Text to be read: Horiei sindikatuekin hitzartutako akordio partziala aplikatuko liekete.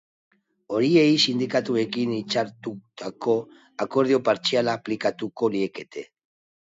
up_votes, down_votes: 3, 0